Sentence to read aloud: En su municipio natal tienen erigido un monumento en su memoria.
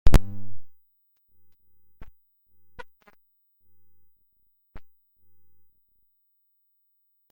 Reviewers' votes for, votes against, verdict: 0, 2, rejected